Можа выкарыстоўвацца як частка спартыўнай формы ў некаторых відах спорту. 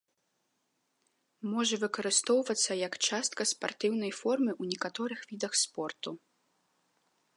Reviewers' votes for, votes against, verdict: 2, 0, accepted